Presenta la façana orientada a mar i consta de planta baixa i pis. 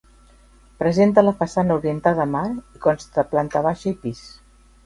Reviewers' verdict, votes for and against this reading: accepted, 2, 1